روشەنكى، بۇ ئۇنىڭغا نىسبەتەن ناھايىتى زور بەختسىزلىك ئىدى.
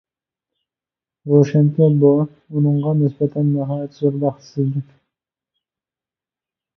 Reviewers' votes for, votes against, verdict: 0, 2, rejected